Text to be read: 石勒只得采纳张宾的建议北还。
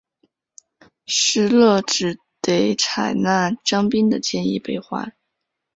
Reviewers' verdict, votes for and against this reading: accepted, 4, 1